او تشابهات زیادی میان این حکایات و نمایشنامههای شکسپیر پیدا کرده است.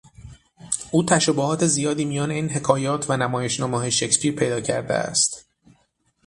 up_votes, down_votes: 6, 0